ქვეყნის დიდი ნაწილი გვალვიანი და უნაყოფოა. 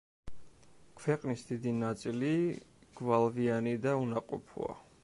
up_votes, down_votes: 1, 2